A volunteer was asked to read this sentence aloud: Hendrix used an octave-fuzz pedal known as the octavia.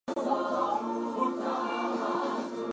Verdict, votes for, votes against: rejected, 0, 2